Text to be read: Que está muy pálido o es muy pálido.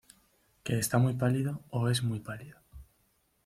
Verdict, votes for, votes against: rejected, 0, 2